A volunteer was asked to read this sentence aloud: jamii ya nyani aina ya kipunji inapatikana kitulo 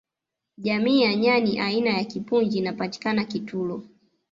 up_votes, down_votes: 1, 2